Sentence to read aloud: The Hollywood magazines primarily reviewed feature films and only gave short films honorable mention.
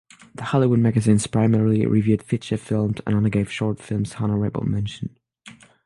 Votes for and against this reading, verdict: 0, 6, rejected